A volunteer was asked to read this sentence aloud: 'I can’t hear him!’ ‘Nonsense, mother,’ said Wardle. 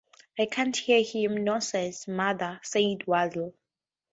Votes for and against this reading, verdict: 2, 0, accepted